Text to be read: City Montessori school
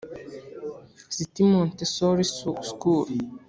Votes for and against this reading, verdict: 0, 2, rejected